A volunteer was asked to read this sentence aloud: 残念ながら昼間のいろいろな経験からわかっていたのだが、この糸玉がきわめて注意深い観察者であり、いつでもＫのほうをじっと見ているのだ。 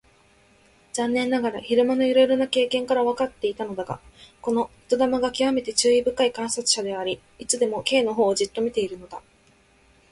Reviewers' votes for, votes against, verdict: 2, 0, accepted